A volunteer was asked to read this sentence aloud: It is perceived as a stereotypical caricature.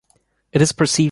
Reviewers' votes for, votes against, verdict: 0, 2, rejected